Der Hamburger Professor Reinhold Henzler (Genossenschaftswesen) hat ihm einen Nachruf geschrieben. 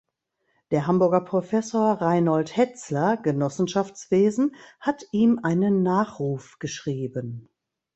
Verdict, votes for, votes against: rejected, 0, 2